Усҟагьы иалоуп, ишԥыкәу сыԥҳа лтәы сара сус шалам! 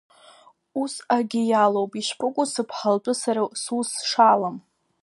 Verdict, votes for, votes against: rejected, 0, 2